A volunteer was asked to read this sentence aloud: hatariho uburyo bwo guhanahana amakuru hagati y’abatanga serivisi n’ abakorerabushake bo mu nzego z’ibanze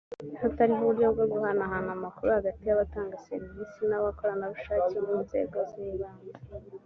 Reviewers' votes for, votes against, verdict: 2, 1, accepted